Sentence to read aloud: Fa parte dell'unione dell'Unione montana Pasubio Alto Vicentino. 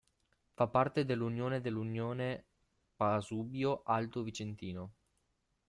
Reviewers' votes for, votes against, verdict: 0, 2, rejected